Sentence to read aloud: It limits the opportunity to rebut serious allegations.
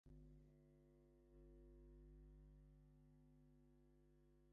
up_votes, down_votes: 0, 2